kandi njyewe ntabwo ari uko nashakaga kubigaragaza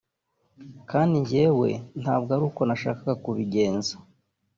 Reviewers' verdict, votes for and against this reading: rejected, 2, 3